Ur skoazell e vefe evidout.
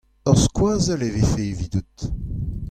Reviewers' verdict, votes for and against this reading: accepted, 2, 0